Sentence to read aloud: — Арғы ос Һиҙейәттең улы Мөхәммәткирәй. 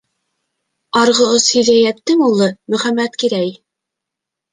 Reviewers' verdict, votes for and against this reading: accepted, 2, 0